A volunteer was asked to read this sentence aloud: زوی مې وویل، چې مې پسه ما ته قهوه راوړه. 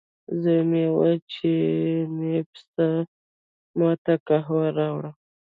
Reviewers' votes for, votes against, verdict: 2, 0, accepted